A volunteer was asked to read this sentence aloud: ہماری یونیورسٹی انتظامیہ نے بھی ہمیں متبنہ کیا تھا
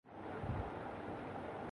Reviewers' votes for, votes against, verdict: 1, 7, rejected